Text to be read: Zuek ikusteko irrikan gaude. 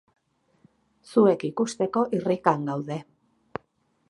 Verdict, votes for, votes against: accepted, 4, 0